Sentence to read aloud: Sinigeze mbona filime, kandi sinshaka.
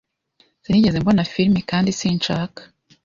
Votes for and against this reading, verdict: 2, 0, accepted